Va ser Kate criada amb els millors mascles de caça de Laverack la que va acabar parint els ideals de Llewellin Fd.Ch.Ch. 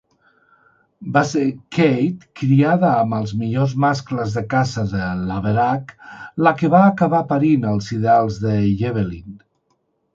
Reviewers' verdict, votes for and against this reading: rejected, 0, 2